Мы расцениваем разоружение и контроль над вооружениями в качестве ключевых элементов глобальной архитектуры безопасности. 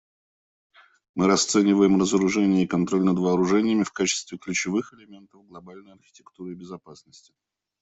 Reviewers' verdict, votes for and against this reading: rejected, 0, 2